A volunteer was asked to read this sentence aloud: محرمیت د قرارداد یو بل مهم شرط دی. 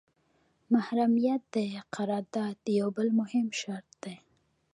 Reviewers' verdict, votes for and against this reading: accepted, 2, 0